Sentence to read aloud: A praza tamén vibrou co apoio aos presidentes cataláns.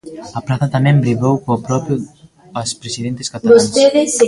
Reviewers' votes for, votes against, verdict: 0, 2, rejected